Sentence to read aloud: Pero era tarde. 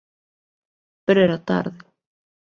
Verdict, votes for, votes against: accepted, 2, 0